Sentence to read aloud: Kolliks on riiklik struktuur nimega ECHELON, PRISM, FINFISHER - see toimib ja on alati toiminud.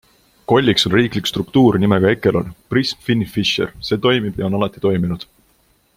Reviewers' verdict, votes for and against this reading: accepted, 2, 0